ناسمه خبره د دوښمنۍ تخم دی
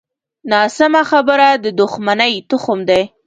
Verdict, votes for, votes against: accepted, 2, 0